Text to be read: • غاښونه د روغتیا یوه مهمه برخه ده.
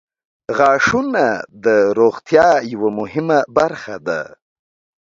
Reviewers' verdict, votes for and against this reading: accepted, 2, 0